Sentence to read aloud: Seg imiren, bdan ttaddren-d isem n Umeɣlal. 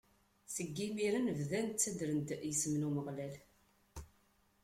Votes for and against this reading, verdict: 2, 0, accepted